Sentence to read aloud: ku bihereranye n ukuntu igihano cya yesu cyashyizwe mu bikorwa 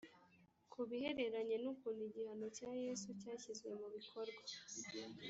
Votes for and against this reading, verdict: 1, 2, rejected